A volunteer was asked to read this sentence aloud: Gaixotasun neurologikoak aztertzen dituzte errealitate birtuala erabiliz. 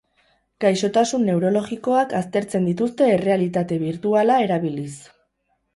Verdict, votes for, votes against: rejected, 0, 2